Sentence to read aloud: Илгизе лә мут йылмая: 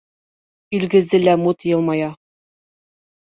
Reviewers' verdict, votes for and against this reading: accepted, 2, 0